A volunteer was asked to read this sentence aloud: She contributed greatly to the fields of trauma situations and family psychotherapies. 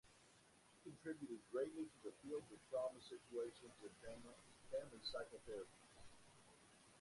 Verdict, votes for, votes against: rejected, 0, 2